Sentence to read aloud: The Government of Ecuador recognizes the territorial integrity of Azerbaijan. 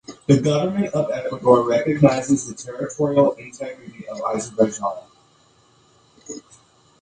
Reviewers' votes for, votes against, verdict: 0, 2, rejected